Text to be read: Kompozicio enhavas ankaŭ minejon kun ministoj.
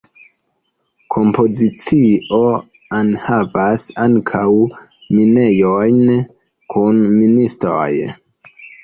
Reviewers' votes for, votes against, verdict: 2, 1, accepted